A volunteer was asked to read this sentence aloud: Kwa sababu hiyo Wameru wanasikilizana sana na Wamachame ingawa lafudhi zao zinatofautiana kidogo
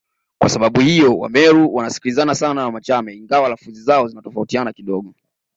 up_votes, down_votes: 2, 1